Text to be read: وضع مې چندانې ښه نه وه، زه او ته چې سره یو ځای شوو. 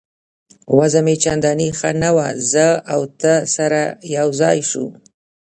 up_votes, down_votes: 0, 2